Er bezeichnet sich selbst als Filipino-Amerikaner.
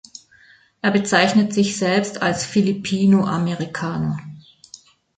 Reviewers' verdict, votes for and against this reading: accepted, 2, 0